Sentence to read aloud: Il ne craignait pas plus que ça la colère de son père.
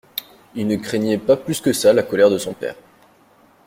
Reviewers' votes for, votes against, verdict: 2, 0, accepted